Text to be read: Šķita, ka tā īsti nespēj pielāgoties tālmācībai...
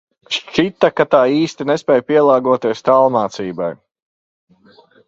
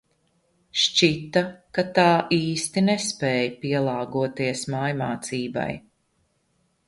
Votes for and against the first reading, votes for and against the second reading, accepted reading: 2, 0, 1, 2, first